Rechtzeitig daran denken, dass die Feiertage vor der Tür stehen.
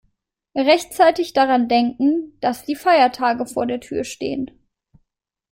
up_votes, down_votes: 2, 0